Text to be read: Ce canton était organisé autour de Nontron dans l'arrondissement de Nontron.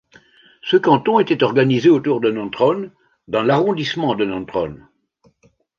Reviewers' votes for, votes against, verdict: 1, 2, rejected